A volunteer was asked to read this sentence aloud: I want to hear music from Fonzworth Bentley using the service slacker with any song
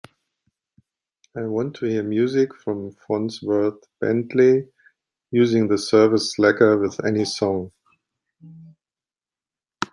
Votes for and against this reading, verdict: 3, 1, accepted